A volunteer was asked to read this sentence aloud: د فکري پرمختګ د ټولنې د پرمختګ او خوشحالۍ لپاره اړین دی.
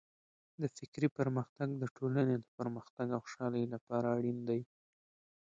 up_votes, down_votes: 0, 2